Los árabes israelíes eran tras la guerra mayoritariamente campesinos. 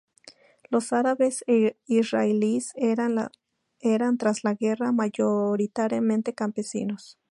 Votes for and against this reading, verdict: 2, 2, rejected